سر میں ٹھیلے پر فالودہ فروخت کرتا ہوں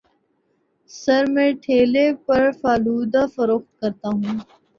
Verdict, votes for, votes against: accepted, 2, 0